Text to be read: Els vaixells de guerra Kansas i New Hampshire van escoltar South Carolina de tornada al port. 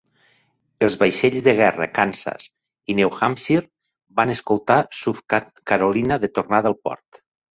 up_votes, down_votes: 0, 2